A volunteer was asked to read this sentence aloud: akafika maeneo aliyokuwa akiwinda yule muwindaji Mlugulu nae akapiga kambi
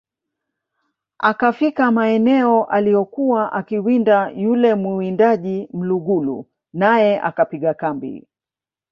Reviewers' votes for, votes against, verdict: 2, 0, accepted